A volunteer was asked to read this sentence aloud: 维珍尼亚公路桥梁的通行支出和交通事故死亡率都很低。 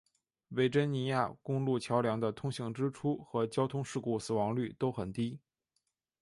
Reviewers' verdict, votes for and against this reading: accepted, 3, 0